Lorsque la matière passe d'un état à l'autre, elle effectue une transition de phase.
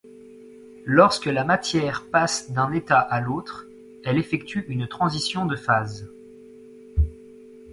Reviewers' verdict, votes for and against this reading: accepted, 2, 0